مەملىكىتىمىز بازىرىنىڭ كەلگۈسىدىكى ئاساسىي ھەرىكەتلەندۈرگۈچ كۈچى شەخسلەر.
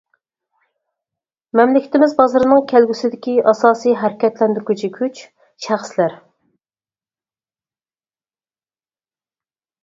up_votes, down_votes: 0, 4